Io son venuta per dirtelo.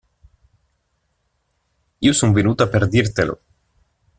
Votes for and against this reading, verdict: 2, 0, accepted